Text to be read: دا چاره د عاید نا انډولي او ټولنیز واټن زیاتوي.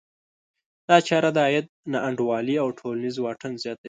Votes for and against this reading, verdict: 1, 2, rejected